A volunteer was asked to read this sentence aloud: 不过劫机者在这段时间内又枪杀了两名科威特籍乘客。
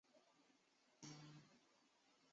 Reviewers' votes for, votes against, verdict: 0, 2, rejected